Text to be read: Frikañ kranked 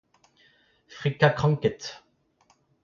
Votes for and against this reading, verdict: 2, 1, accepted